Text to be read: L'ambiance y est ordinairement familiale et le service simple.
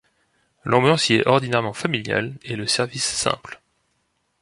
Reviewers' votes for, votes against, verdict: 3, 0, accepted